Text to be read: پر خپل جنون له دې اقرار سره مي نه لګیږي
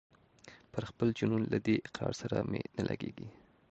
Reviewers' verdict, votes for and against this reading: accepted, 2, 0